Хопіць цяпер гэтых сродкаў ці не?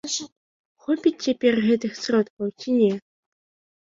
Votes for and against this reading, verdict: 0, 2, rejected